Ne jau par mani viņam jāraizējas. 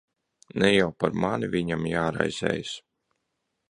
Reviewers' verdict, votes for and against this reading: accepted, 2, 0